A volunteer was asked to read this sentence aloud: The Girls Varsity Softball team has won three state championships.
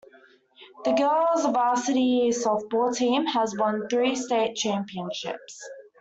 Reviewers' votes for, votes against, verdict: 2, 1, accepted